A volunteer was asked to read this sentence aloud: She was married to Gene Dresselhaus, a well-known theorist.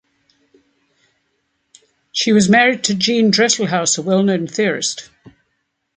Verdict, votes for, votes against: accepted, 2, 0